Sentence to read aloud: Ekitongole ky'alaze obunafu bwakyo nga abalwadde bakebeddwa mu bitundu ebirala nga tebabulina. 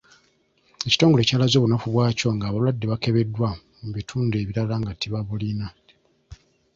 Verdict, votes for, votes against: accepted, 2, 0